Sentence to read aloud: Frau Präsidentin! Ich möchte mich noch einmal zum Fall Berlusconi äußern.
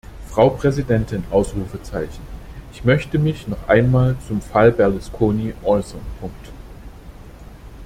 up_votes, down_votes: 1, 2